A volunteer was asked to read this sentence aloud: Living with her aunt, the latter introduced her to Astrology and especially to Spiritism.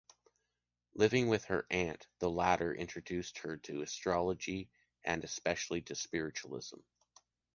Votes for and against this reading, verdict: 0, 2, rejected